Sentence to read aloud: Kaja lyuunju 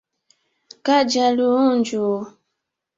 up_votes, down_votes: 2, 0